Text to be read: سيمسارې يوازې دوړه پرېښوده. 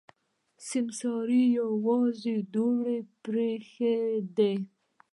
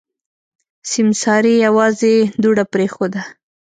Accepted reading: second